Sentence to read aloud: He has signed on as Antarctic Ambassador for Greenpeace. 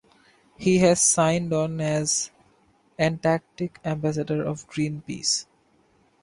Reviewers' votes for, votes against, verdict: 0, 2, rejected